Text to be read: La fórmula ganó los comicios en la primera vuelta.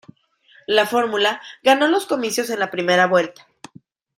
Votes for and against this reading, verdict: 2, 0, accepted